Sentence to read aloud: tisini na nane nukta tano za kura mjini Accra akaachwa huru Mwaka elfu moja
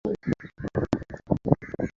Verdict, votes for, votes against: rejected, 0, 2